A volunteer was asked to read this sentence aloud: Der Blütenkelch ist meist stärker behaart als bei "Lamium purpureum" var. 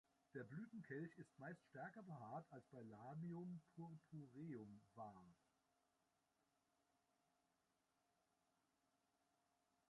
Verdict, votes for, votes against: rejected, 0, 2